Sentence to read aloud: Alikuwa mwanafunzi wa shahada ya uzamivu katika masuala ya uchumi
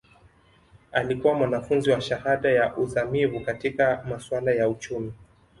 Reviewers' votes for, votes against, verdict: 2, 0, accepted